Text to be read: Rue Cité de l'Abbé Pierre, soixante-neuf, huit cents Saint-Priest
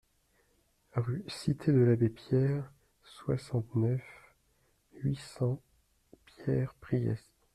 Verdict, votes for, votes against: rejected, 0, 2